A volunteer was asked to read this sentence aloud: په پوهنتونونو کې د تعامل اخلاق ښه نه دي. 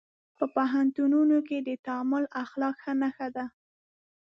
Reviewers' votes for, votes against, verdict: 1, 2, rejected